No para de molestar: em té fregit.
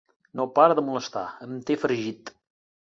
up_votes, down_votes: 2, 0